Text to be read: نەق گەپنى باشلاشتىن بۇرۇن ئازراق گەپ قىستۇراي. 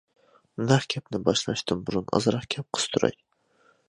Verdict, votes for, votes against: accepted, 2, 0